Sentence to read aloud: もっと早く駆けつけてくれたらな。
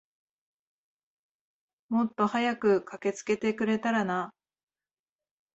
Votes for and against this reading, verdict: 2, 0, accepted